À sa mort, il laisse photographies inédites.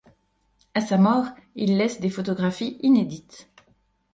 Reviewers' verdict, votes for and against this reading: rejected, 0, 2